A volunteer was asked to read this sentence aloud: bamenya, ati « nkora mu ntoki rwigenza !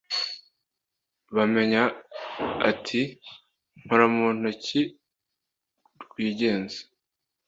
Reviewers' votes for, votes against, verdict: 2, 0, accepted